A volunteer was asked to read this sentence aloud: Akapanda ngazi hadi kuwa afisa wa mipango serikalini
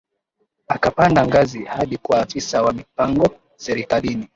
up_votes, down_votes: 2, 0